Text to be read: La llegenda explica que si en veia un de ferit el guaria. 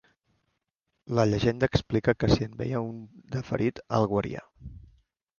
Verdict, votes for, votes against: accepted, 2, 0